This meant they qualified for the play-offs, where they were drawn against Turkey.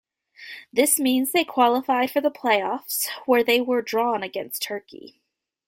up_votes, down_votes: 1, 2